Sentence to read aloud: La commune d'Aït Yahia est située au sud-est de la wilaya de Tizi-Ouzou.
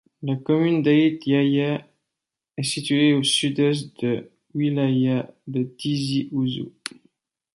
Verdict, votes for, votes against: rejected, 0, 2